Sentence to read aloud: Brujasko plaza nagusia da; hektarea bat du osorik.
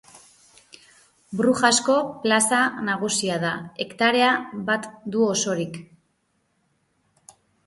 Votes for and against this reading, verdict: 3, 0, accepted